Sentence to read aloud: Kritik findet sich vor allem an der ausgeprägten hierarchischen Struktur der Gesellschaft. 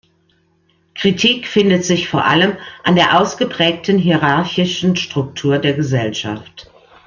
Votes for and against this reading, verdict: 2, 0, accepted